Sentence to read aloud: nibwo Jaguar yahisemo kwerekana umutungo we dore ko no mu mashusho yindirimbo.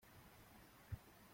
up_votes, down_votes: 0, 2